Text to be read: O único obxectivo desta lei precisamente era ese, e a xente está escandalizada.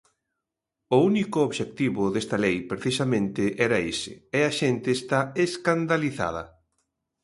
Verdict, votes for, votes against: accepted, 2, 0